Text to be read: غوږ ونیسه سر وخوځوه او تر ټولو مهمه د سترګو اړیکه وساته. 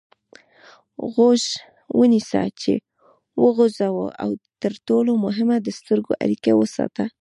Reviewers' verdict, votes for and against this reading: rejected, 0, 2